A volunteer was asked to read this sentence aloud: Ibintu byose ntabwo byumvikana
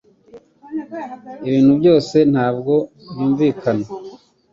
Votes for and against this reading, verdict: 2, 1, accepted